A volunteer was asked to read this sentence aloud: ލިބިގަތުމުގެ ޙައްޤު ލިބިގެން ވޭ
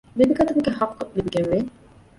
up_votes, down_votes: 0, 2